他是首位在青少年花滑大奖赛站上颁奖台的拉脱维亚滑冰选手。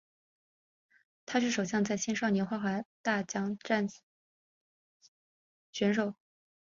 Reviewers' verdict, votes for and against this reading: rejected, 0, 3